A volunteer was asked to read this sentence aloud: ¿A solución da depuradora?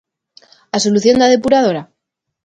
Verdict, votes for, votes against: accepted, 2, 0